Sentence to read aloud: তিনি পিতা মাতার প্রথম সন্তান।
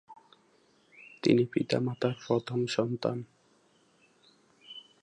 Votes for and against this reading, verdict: 3, 2, accepted